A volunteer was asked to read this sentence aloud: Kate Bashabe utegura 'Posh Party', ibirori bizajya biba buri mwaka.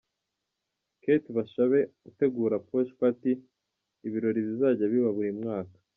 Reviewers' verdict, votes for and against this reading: accepted, 2, 0